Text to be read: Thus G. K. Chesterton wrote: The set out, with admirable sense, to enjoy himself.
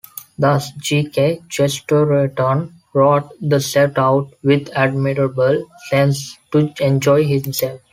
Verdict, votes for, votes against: accepted, 2, 0